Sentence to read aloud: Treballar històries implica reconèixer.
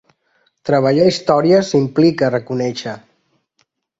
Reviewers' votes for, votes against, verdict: 2, 0, accepted